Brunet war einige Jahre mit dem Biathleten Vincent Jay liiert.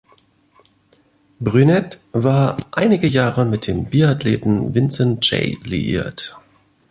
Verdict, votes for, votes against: accepted, 2, 0